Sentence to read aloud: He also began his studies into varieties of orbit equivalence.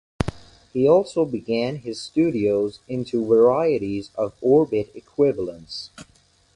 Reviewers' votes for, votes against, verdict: 0, 2, rejected